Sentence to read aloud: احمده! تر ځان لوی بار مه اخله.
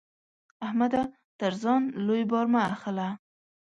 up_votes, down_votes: 1, 2